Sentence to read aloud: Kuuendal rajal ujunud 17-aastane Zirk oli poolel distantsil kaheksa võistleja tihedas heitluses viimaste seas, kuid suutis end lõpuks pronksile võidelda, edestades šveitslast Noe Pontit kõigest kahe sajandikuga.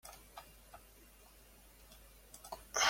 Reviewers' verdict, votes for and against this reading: rejected, 0, 2